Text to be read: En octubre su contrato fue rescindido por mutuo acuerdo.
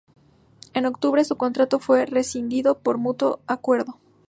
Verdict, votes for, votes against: accepted, 4, 0